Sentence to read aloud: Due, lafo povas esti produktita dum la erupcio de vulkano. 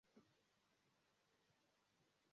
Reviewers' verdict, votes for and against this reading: rejected, 0, 2